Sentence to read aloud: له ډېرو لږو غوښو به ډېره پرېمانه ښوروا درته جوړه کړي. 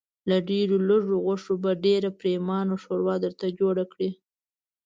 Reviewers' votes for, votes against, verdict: 2, 0, accepted